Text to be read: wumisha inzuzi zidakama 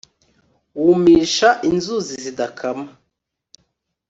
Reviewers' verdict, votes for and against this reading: accepted, 2, 0